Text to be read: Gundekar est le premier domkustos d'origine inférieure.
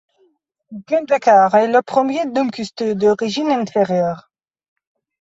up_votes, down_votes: 1, 2